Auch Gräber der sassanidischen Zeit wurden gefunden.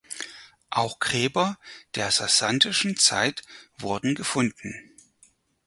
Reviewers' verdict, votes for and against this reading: rejected, 0, 4